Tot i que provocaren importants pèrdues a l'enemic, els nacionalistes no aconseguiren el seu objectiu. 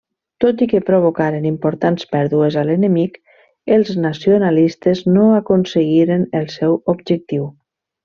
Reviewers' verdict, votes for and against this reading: accepted, 3, 0